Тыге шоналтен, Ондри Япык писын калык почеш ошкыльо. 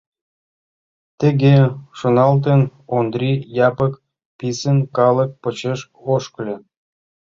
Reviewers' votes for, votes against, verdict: 2, 1, accepted